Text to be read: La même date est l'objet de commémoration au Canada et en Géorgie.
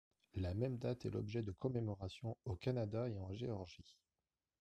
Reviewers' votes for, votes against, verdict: 1, 2, rejected